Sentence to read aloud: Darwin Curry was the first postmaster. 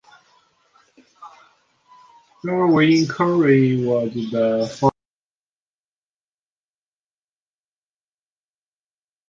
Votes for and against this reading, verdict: 0, 2, rejected